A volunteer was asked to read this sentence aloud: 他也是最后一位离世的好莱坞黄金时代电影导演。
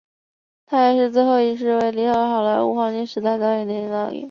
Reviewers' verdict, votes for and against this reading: rejected, 0, 5